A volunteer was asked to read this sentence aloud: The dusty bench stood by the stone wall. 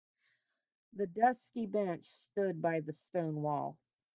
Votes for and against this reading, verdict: 1, 2, rejected